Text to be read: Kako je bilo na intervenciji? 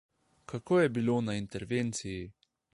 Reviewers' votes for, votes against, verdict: 2, 0, accepted